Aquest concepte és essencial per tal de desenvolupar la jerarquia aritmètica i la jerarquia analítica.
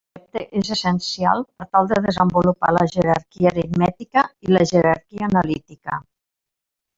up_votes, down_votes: 0, 5